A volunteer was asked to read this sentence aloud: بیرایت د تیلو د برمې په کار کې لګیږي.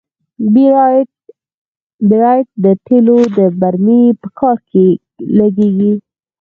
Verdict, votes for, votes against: rejected, 2, 4